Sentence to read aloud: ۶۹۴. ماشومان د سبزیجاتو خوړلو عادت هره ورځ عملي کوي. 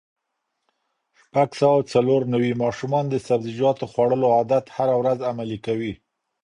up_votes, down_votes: 0, 2